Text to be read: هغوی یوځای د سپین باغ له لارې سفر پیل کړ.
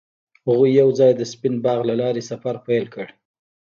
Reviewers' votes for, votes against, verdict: 1, 2, rejected